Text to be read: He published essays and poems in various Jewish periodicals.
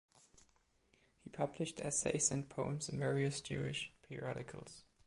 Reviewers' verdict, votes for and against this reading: accepted, 2, 0